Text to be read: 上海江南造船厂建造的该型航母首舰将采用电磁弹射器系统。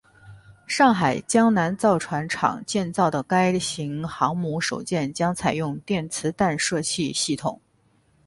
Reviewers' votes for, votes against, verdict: 6, 0, accepted